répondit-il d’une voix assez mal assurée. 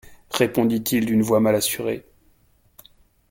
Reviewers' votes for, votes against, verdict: 1, 2, rejected